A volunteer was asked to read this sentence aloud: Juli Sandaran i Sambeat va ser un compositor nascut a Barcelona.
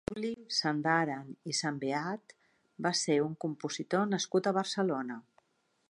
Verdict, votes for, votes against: rejected, 1, 2